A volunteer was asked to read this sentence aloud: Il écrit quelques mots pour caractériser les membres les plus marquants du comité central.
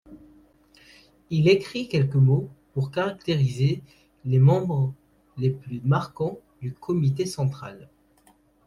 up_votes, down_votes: 2, 0